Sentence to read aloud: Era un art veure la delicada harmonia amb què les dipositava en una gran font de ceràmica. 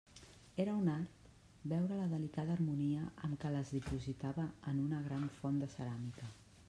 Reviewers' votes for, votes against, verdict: 1, 2, rejected